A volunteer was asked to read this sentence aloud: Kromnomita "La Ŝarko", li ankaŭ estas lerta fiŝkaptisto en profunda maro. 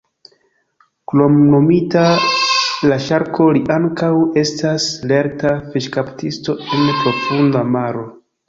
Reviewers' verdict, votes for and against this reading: accepted, 2, 1